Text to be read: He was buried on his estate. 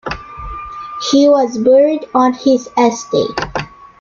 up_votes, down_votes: 2, 0